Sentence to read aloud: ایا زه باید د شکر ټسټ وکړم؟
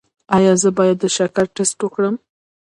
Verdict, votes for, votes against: rejected, 1, 2